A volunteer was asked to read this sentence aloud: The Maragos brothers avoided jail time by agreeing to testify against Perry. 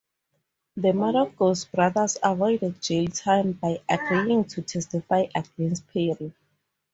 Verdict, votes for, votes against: accepted, 4, 0